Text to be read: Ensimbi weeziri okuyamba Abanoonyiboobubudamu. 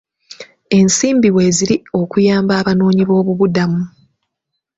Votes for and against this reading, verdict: 1, 2, rejected